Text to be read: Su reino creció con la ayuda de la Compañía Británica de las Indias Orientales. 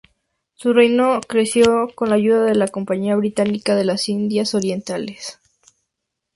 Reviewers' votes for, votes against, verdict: 2, 0, accepted